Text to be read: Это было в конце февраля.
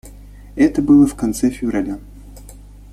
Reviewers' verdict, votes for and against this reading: accepted, 2, 0